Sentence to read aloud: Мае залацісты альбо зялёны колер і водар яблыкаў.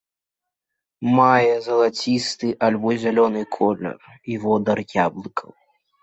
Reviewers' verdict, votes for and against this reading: accepted, 2, 0